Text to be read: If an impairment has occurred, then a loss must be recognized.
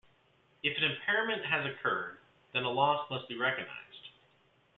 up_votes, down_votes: 2, 0